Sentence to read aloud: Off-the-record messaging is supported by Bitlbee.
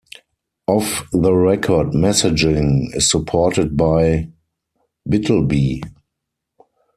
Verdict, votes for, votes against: accepted, 4, 0